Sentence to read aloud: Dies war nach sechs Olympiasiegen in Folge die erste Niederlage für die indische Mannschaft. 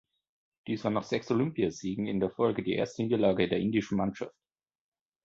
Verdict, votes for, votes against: rejected, 0, 2